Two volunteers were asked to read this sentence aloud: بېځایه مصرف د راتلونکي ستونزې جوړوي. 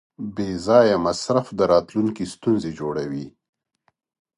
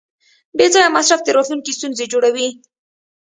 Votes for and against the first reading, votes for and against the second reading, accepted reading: 2, 0, 1, 2, first